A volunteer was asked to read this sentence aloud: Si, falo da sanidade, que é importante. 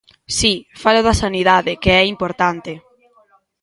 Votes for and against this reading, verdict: 1, 2, rejected